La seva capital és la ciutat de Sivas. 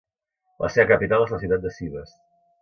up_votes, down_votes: 0, 2